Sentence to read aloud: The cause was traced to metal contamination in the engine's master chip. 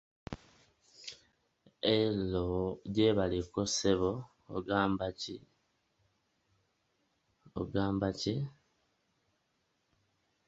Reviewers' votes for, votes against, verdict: 0, 2, rejected